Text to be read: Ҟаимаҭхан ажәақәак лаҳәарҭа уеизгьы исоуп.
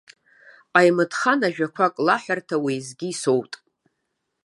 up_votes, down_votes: 0, 2